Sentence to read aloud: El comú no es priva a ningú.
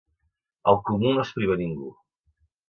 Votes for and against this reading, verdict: 2, 0, accepted